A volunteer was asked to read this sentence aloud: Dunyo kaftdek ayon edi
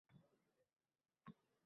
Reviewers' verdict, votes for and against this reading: rejected, 0, 2